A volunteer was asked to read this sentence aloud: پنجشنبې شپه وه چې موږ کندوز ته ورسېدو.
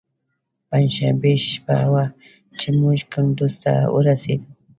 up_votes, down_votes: 2, 0